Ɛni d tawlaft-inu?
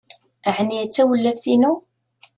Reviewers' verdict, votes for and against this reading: accepted, 2, 0